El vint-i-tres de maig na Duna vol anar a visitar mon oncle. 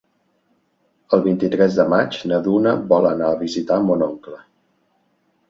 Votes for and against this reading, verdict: 3, 0, accepted